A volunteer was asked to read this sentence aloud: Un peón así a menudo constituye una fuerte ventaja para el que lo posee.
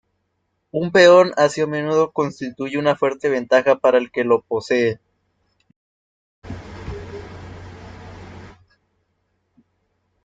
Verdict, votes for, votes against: accepted, 2, 1